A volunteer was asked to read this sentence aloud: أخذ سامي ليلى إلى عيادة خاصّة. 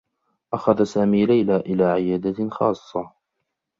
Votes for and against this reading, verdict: 2, 0, accepted